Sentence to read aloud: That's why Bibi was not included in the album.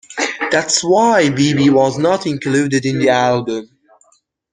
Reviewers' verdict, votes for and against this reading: rejected, 1, 2